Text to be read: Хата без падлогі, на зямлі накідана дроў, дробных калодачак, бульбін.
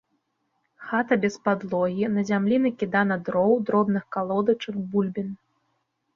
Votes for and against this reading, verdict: 2, 0, accepted